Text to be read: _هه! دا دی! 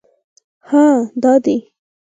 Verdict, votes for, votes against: accepted, 4, 2